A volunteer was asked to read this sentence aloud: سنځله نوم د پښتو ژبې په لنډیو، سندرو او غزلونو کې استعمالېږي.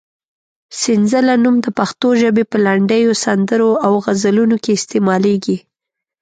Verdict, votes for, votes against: accepted, 3, 0